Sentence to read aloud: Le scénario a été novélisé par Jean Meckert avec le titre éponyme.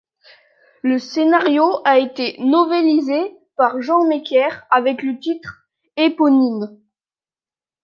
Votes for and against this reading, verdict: 2, 0, accepted